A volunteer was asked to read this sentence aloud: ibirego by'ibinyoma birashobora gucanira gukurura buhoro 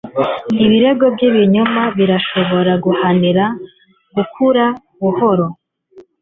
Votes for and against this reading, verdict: 1, 2, rejected